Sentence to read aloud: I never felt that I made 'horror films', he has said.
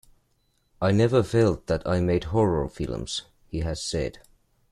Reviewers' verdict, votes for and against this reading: accepted, 2, 0